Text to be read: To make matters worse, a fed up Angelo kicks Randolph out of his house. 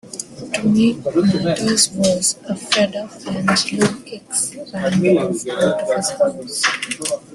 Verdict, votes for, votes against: rejected, 0, 2